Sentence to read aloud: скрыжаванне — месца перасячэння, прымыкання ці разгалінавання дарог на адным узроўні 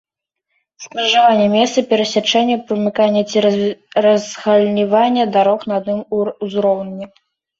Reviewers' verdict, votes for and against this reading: rejected, 0, 2